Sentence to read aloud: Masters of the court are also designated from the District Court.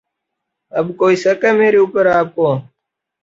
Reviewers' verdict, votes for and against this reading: rejected, 0, 2